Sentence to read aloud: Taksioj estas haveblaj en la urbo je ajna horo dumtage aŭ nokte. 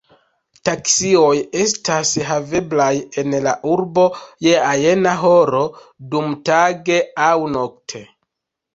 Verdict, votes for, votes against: accepted, 2, 1